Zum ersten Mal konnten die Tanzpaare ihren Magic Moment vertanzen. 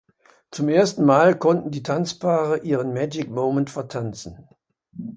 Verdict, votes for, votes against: accepted, 2, 0